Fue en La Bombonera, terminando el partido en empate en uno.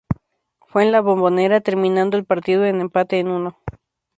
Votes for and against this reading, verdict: 4, 0, accepted